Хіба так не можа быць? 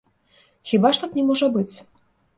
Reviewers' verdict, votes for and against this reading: rejected, 0, 2